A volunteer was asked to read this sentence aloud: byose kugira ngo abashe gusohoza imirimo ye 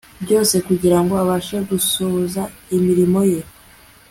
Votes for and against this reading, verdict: 2, 0, accepted